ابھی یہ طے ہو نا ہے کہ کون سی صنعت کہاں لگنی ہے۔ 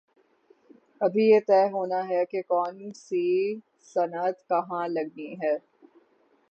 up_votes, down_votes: 3, 3